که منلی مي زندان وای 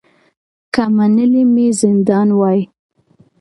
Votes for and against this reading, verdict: 2, 0, accepted